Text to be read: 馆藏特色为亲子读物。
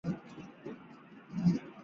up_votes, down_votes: 2, 7